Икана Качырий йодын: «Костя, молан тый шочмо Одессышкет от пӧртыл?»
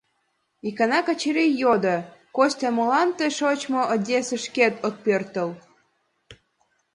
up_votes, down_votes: 2, 3